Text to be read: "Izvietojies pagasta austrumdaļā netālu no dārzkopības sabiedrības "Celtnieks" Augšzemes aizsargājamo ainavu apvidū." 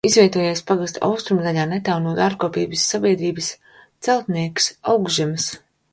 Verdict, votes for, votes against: rejected, 0, 2